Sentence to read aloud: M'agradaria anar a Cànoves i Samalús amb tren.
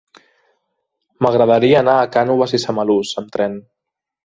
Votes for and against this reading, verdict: 3, 0, accepted